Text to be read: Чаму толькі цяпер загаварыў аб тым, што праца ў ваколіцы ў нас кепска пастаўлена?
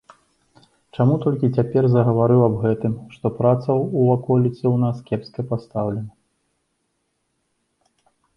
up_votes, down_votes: 0, 2